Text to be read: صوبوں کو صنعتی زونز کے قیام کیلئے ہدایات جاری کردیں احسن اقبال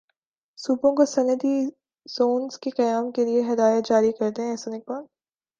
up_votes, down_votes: 2, 0